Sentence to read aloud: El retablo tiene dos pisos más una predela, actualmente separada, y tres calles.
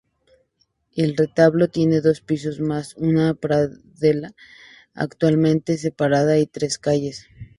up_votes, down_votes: 0, 6